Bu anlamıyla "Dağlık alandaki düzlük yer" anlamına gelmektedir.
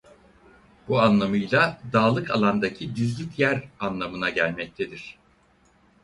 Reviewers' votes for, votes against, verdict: 4, 0, accepted